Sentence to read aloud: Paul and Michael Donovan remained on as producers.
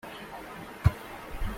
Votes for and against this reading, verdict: 0, 2, rejected